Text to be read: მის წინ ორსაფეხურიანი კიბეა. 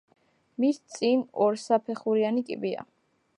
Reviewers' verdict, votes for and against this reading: rejected, 0, 2